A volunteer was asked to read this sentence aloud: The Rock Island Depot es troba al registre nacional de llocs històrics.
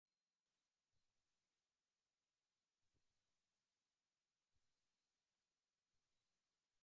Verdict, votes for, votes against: rejected, 0, 2